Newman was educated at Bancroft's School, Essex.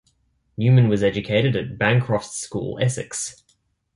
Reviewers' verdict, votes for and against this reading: accepted, 2, 0